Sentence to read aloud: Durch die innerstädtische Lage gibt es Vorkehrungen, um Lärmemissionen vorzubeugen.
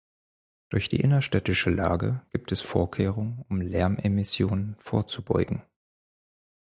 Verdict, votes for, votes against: accepted, 4, 0